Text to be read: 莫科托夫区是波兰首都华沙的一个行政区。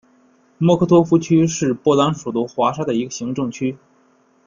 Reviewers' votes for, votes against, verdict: 2, 0, accepted